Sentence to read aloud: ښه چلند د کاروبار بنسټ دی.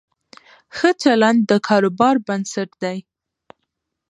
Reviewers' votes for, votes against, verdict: 1, 2, rejected